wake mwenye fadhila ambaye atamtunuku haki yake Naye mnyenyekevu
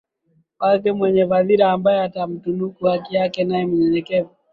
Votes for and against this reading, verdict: 2, 1, accepted